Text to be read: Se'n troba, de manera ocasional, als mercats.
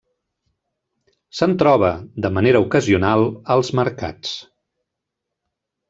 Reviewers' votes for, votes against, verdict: 4, 0, accepted